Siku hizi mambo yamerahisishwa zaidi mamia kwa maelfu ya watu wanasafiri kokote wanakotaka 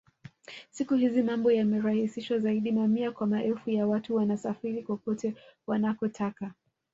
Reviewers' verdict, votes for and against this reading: accepted, 2, 0